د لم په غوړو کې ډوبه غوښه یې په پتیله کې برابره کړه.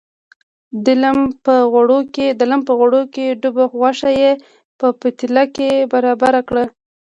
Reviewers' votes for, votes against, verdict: 2, 0, accepted